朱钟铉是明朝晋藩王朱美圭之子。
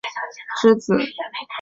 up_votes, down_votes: 0, 3